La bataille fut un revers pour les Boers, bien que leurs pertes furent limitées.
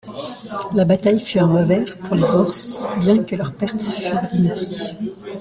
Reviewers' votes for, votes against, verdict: 2, 1, accepted